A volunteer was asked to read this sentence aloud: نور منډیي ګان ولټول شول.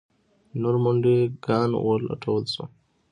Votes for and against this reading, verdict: 2, 1, accepted